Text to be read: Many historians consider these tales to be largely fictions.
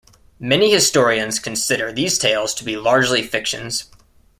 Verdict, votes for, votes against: accepted, 2, 0